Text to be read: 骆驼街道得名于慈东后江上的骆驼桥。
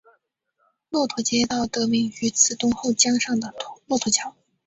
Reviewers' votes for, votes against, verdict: 2, 0, accepted